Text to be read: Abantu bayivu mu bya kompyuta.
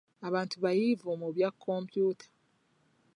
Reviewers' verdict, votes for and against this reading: accepted, 3, 1